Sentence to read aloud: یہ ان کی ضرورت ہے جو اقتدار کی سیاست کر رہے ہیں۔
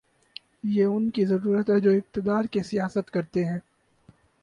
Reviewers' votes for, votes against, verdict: 2, 4, rejected